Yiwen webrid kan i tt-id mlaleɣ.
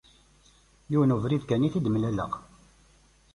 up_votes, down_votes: 1, 2